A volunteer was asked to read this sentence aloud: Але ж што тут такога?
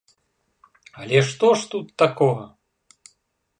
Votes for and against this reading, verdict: 0, 2, rejected